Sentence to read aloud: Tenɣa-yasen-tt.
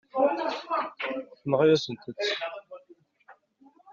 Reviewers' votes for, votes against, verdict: 0, 2, rejected